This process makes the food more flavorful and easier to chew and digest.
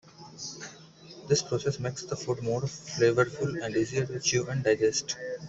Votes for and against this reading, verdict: 2, 1, accepted